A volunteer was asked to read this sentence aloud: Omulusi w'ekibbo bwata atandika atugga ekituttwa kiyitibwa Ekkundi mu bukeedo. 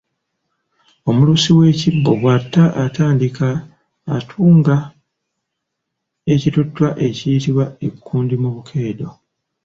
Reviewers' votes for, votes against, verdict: 0, 2, rejected